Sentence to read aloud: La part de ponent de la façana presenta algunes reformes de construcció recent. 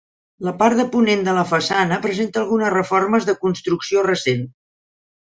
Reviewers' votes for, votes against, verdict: 4, 0, accepted